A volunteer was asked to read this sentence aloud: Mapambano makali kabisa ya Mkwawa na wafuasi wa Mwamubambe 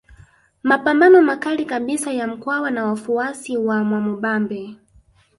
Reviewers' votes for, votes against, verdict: 1, 2, rejected